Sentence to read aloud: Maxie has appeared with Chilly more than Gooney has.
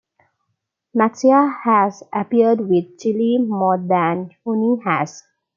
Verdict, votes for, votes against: rejected, 1, 2